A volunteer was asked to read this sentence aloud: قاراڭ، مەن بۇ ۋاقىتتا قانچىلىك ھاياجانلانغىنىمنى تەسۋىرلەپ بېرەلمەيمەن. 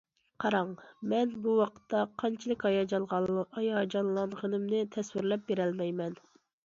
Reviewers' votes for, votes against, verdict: 0, 2, rejected